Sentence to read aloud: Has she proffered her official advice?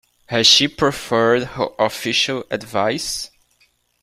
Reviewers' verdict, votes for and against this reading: rejected, 1, 2